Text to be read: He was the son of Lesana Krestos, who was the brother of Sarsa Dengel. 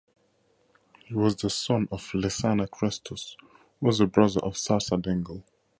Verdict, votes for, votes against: accepted, 2, 0